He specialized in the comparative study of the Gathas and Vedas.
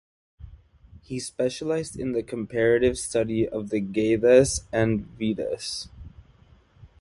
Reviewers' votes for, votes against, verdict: 2, 1, accepted